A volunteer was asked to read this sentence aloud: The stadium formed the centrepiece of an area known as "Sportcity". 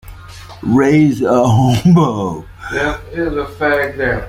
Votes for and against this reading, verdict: 0, 2, rejected